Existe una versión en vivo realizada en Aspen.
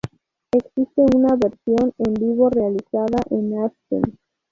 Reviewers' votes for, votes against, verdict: 0, 2, rejected